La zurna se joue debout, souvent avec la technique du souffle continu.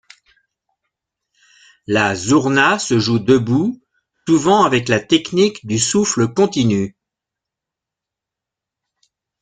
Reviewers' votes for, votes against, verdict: 0, 2, rejected